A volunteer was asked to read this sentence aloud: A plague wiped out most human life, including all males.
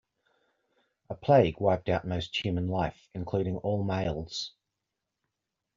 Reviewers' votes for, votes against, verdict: 2, 0, accepted